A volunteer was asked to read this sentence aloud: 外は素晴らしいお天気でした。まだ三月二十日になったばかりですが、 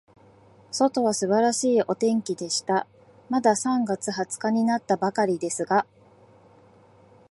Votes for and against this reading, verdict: 2, 0, accepted